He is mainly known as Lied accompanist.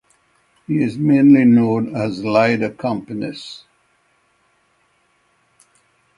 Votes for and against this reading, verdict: 6, 0, accepted